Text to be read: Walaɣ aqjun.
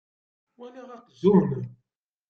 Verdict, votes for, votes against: rejected, 1, 2